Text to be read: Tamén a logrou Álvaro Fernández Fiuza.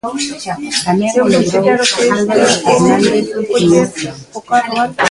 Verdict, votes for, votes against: rejected, 0, 2